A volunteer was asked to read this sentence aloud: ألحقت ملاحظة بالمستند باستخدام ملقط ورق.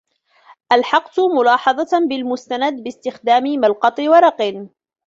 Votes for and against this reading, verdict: 1, 2, rejected